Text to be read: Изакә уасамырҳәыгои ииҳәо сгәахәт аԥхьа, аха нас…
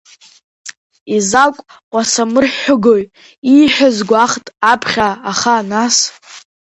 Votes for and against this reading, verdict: 1, 2, rejected